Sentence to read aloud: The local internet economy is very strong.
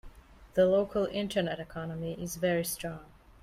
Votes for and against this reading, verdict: 2, 0, accepted